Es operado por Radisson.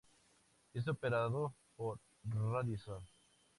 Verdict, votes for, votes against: accepted, 2, 0